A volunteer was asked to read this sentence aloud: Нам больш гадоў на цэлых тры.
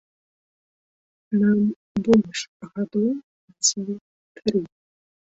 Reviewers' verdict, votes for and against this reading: rejected, 0, 2